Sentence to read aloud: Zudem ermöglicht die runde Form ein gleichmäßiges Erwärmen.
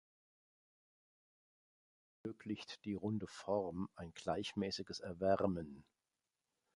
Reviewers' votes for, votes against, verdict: 0, 2, rejected